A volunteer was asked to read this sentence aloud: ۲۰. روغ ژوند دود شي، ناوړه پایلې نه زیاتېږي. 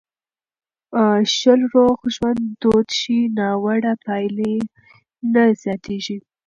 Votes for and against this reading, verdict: 0, 2, rejected